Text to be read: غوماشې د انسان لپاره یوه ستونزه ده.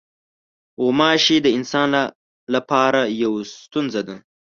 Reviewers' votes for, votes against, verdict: 1, 2, rejected